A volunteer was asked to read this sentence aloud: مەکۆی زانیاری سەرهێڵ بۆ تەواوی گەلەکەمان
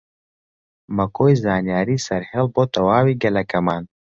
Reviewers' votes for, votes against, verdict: 2, 0, accepted